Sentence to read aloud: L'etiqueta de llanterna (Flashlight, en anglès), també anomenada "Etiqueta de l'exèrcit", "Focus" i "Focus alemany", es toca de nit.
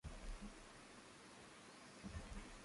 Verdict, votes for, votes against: rejected, 0, 2